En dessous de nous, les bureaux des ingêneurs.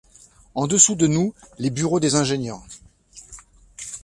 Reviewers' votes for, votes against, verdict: 0, 2, rejected